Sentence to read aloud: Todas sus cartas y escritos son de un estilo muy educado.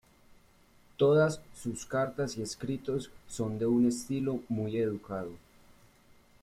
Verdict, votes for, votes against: rejected, 1, 2